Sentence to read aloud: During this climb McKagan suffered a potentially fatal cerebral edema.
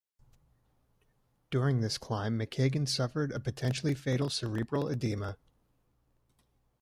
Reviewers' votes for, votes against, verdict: 2, 1, accepted